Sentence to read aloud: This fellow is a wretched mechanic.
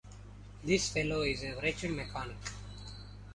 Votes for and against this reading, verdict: 1, 2, rejected